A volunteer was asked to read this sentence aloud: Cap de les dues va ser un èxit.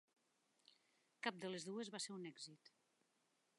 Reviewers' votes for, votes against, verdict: 2, 0, accepted